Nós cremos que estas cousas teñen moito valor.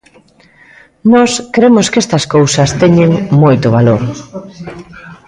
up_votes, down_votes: 1, 2